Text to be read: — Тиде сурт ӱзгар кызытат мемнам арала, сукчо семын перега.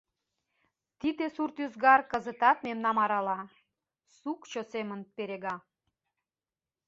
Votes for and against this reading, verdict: 2, 0, accepted